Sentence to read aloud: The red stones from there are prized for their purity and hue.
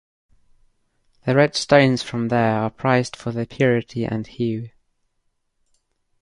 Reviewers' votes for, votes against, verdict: 2, 0, accepted